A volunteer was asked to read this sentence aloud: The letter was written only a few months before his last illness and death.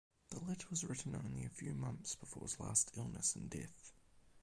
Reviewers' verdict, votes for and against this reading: accepted, 4, 0